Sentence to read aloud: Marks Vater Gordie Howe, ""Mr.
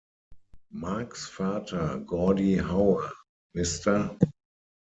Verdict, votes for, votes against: rejected, 3, 6